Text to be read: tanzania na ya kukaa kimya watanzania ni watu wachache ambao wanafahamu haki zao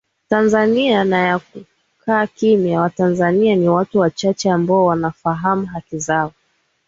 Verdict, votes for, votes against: accepted, 2, 0